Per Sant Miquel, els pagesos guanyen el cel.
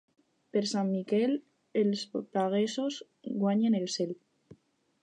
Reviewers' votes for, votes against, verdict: 0, 4, rejected